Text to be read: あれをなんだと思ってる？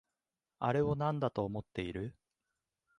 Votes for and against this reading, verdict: 2, 1, accepted